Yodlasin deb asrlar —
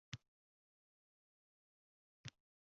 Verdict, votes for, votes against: rejected, 0, 2